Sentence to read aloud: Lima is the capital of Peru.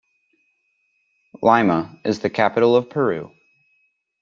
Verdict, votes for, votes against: rejected, 1, 2